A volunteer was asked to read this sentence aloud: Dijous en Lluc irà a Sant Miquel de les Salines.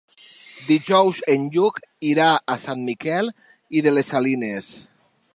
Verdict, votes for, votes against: rejected, 0, 2